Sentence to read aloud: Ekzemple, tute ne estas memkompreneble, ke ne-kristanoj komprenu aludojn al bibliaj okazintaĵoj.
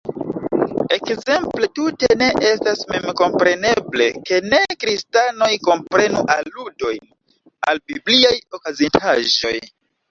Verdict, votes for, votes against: rejected, 1, 2